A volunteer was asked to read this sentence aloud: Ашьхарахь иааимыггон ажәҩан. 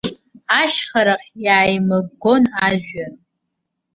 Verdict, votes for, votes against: rejected, 1, 2